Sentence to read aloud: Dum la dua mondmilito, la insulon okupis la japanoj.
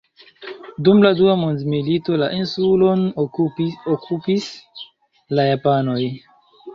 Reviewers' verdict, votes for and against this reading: rejected, 1, 3